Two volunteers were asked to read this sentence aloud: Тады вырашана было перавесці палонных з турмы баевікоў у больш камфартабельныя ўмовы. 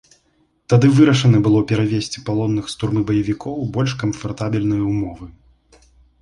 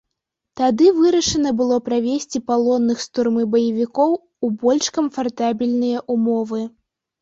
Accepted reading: first